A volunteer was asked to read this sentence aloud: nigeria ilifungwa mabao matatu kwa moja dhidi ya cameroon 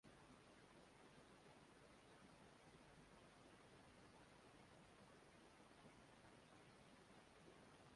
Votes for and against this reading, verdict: 1, 2, rejected